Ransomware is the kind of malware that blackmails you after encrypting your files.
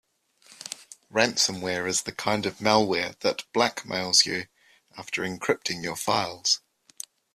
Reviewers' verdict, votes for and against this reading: accepted, 2, 0